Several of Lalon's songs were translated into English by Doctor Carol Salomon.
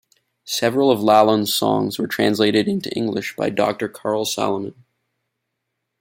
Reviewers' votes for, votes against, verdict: 2, 1, accepted